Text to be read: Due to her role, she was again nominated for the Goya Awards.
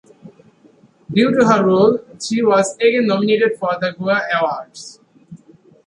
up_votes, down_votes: 0, 2